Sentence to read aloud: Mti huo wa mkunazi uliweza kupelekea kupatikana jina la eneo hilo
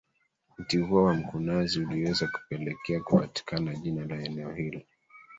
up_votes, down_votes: 1, 2